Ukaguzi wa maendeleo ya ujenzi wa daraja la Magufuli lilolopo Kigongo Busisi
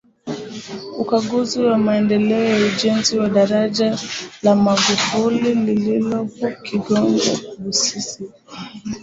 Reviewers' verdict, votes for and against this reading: rejected, 0, 2